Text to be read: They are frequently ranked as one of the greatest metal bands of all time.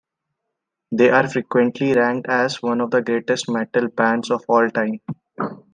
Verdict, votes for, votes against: accepted, 2, 0